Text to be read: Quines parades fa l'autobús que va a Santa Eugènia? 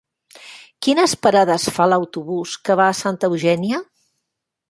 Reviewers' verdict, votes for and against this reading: accepted, 3, 1